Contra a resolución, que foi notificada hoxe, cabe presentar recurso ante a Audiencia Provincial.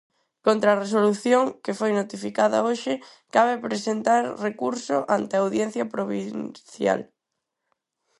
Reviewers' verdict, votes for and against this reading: rejected, 2, 4